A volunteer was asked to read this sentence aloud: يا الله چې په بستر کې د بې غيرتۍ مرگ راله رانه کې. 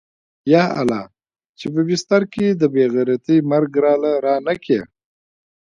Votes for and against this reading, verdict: 1, 2, rejected